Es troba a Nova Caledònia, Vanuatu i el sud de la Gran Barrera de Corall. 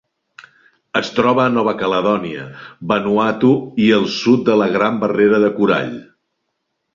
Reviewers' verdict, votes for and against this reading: accepted, 3, 0